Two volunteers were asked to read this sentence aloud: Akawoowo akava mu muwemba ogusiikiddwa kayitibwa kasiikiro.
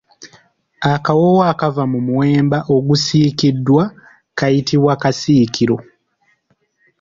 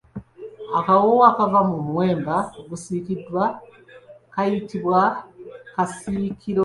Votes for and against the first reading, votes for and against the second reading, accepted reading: 2, 0, 1, 2, first